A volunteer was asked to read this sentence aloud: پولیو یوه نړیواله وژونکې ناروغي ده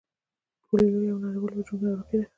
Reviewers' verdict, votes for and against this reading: rejected, 1, 2